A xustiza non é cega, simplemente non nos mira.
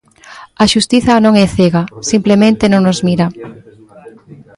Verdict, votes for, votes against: rejected, 1, 2